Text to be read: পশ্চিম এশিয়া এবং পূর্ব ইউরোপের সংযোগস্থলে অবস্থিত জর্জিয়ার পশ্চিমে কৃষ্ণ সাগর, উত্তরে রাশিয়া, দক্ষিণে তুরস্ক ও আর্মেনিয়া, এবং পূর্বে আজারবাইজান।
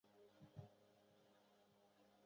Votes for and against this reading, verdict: 0, 2, rejected